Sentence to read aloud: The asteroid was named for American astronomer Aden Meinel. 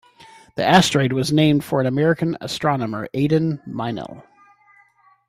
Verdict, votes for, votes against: accepted, 2, 0